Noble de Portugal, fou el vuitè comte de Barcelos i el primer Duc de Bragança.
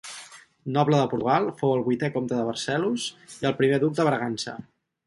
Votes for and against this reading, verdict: 0, 2, rejected